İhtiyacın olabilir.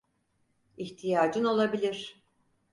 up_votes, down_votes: 4, 0